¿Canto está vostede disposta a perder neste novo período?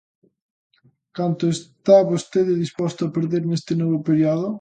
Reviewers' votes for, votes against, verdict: 1, 2, rejected